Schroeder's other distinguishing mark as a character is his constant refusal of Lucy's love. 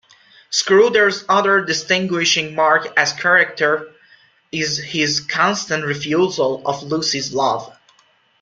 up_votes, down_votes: 0, 2